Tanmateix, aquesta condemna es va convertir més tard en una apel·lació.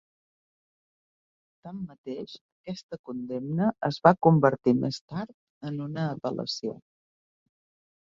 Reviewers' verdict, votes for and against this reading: rejected, 0, 2